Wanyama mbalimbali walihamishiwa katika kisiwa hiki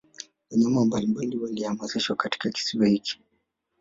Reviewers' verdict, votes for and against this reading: rejected, 0, 2